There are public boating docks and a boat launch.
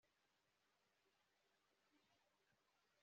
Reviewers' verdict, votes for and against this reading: rejected, 0, 2